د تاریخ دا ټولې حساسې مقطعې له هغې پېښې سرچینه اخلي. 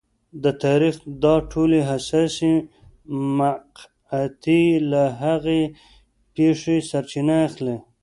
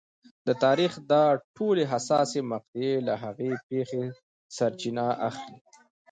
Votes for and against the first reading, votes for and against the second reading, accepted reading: 1, 2, 2, 0, second